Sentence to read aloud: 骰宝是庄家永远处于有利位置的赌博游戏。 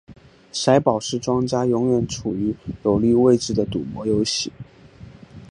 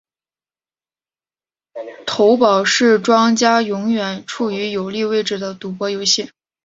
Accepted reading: first